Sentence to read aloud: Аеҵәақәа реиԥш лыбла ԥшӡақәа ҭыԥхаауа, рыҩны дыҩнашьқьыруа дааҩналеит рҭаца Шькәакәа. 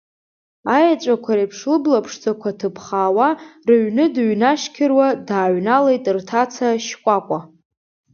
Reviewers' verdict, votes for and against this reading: accepted, 2, 0